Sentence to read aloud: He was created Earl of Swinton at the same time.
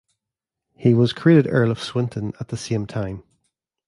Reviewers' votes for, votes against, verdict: 1, 2, rejected